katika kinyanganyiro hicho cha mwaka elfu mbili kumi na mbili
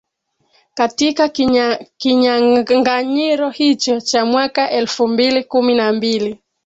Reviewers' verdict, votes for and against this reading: rejected, 2, 4